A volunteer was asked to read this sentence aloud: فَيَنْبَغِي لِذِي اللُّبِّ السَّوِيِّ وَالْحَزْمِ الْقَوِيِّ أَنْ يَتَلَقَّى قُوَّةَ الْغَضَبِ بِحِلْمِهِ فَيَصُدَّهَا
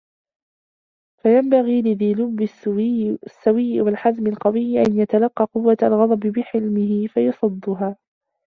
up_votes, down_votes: 1, 2